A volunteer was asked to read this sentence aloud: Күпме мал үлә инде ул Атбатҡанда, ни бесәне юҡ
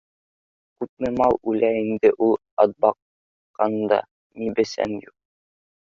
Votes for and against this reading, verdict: 0, 2, rejected